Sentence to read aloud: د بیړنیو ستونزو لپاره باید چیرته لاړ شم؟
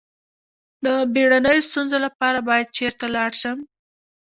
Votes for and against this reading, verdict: 2, 0, accepted